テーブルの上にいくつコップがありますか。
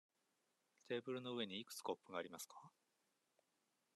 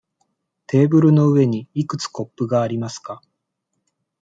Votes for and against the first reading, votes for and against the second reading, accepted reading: 2, 0, 1, 2, first